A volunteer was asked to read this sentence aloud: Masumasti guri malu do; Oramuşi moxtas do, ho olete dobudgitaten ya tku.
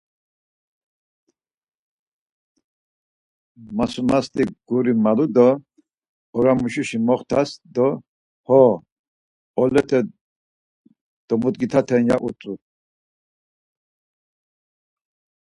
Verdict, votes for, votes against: rejected, 0, 4